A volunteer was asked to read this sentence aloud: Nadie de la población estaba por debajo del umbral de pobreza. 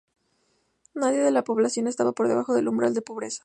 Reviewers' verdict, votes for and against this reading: accepted, 2, 0